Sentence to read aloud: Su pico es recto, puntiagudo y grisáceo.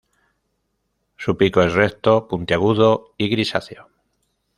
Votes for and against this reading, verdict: 2, 0, accepted